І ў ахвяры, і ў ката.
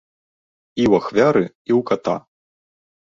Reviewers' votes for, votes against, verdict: 0, 3, rejected